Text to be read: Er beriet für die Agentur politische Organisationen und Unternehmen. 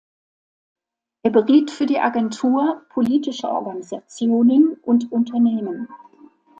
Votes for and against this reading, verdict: 2, 0, accepted